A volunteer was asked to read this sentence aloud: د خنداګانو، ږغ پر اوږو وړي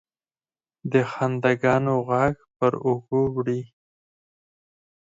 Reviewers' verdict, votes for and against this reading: accepted, 4, 0